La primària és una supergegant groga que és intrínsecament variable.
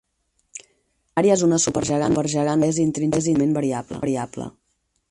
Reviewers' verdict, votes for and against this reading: rejected, 0, 4